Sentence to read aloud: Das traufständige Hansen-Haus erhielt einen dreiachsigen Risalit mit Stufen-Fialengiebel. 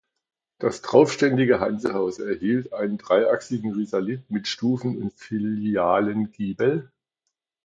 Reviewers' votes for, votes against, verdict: 0, 2, rejected